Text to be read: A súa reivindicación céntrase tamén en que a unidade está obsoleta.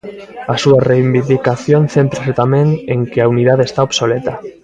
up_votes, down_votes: 0, 2